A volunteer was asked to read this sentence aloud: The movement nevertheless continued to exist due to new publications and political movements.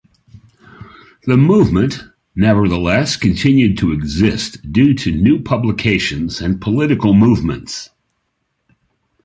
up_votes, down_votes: 3, 0